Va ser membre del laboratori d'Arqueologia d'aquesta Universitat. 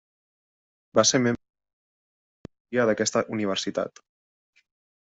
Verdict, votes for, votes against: rejected, 0, 2